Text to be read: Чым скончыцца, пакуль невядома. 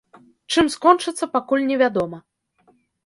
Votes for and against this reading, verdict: 2, 0, accepted